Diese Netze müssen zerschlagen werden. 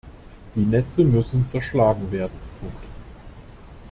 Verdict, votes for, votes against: rejected, 0, 2